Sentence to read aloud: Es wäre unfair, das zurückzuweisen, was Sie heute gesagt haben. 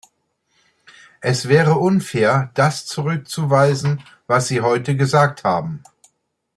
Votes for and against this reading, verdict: 2, 0, accepted